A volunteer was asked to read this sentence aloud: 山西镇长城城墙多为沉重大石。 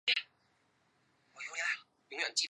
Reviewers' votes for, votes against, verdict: 0, 4, rejected